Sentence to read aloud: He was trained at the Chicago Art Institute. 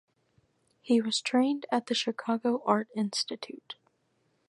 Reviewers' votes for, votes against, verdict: 4, 0, accepted